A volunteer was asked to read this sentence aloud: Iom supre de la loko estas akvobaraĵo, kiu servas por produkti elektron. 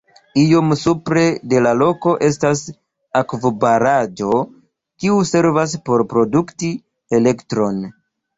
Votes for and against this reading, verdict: 2, 1, accepted